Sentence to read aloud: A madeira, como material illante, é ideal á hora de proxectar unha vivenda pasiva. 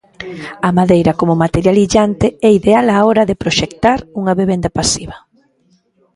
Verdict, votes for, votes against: accepted, 2, 0